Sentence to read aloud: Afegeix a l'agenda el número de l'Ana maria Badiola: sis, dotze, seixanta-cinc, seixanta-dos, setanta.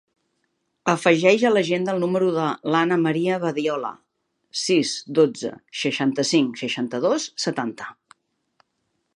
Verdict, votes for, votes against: accepted, 2, 0